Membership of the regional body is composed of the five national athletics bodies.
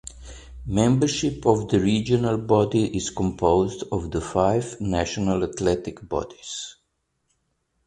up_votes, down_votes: 2, 0